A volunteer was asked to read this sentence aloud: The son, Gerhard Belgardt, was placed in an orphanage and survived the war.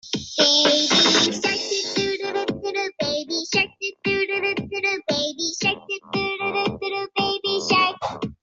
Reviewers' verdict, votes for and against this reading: rejected, 0, 2